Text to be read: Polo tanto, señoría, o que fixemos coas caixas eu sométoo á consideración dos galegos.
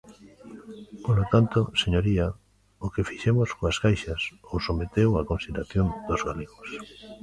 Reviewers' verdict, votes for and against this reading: rejected, 0, 2